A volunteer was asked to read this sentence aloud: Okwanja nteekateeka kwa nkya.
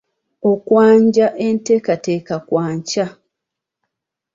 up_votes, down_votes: 0, 2